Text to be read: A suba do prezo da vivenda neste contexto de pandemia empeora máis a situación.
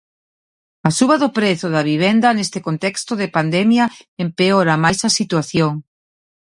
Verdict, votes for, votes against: accepted, 2, 0